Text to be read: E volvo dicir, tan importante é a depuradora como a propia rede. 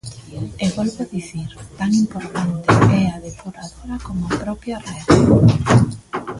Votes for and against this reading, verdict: 0, 2, rejected